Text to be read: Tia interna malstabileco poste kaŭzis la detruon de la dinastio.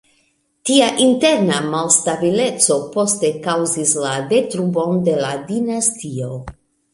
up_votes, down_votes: 2, 1